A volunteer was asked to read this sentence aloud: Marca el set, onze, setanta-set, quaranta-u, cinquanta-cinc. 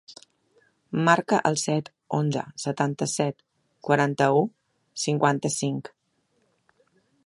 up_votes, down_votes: 3, 0